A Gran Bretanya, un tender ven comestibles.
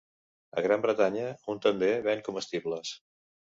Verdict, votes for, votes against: accepted, 2, 0